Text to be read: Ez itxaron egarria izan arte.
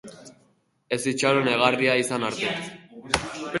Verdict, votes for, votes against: accepted, 2, 0